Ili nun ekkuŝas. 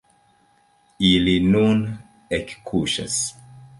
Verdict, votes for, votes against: accepted, 3, 2